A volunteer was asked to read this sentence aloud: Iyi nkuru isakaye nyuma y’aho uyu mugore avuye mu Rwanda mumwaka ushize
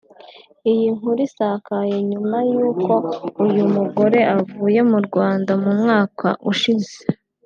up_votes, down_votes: 1, 2